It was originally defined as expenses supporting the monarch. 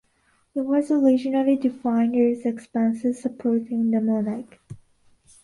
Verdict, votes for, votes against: accepted, 2, 0